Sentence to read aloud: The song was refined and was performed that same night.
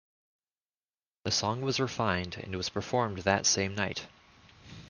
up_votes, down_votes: 2, 0